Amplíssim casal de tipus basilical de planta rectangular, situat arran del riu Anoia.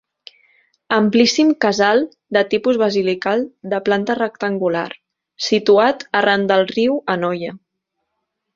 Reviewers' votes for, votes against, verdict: 3, 1, accepted